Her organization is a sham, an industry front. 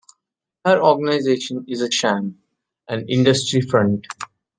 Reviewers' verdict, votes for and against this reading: accepted, 2, 0